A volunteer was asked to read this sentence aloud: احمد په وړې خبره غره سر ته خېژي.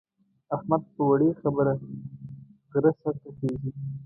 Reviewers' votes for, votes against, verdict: 2, 0, accepted